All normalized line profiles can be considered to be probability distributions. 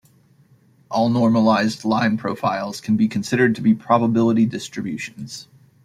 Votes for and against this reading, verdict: 2, 1, accepted